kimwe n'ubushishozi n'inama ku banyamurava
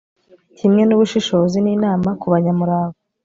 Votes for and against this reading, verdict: 2, 0, accepted